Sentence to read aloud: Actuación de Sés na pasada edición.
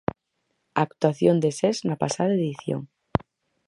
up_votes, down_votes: 6, 0